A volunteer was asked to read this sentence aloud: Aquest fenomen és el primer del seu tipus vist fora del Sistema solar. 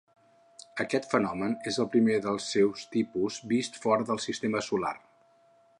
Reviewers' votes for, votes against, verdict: 2, 4, rejected